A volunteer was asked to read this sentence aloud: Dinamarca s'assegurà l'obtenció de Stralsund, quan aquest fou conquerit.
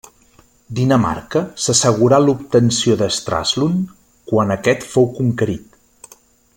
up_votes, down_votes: 2, 1